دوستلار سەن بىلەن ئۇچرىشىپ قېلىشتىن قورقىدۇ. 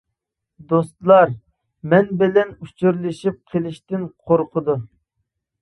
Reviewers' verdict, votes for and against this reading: rejected, 0, 2